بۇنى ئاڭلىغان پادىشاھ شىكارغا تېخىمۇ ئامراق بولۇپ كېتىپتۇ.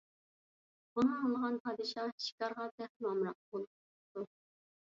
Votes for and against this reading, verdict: 1, 2, rejected